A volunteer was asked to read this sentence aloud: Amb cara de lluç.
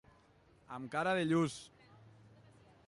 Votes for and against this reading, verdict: 2, 0, accepted